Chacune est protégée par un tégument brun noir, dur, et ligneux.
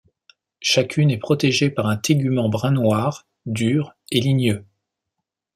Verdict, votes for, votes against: accepted, 2, 0